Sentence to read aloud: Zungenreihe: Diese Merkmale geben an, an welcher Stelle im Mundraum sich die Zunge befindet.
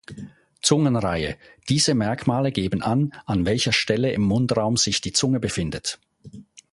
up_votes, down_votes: 2, 0